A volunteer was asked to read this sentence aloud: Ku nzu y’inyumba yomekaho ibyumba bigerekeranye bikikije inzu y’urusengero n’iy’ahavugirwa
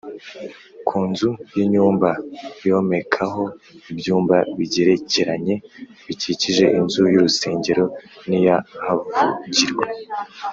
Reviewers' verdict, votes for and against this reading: accepted, 2, 0